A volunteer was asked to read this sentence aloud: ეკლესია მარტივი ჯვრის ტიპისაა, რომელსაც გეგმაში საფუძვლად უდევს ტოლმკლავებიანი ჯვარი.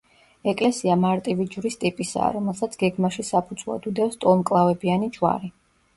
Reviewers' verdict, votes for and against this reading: accepted, 2, 0